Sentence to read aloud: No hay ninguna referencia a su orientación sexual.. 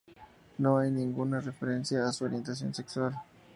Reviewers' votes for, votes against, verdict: 2, 0, accepted